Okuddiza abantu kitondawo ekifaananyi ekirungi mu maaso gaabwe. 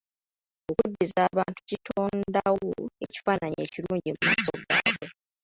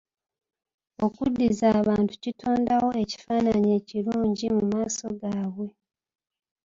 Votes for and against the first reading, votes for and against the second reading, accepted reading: 0, 3, 2, 0, second